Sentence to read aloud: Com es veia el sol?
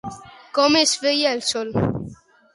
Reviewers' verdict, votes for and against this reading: rejected, 0, 2